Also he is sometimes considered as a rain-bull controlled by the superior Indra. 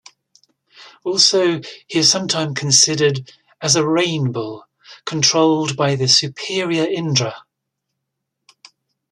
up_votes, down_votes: 1, 2